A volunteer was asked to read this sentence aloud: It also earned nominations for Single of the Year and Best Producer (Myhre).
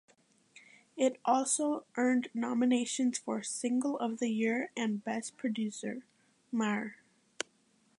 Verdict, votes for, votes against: accepted, 2, 0